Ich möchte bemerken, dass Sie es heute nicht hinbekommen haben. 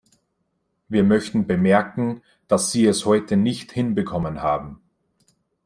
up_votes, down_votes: 0, 2